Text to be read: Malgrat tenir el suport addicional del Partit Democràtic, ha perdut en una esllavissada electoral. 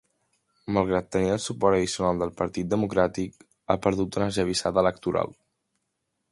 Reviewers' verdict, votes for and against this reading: accepted, 3, 0